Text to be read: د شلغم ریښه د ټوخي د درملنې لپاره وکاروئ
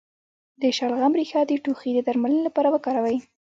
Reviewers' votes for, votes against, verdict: 0, 2, rejected